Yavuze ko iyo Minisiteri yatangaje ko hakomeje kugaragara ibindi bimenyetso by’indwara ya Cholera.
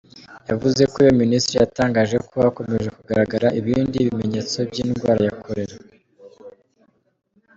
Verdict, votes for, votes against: accepted, 2, 1